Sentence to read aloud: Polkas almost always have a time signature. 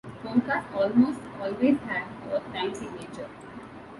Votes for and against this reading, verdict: 2, 0, accepted